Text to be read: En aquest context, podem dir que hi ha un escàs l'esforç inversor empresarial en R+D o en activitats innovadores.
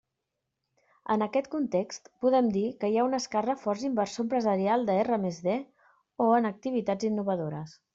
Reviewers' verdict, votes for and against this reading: rejected, 0, 2